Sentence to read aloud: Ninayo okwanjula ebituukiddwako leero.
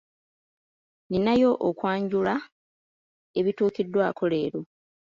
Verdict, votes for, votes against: rejected, 1, 2